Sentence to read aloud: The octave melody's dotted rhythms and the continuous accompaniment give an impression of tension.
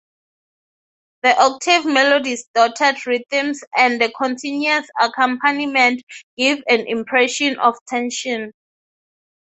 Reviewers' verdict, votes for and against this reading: accepted, 6, 0